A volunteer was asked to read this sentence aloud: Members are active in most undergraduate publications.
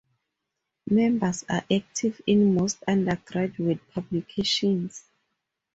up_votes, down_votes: 2, 0